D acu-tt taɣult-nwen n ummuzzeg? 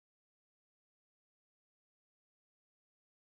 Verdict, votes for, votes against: rejected, 1, 2